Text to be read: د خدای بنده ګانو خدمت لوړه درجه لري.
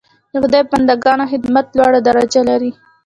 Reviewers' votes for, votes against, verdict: 2, 0, accepted